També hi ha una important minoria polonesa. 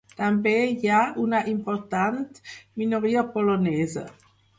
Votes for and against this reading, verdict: 4, 0, accepted